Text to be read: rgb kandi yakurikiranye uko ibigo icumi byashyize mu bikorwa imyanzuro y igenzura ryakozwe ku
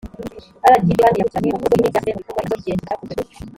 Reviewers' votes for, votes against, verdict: 1, 2, rejected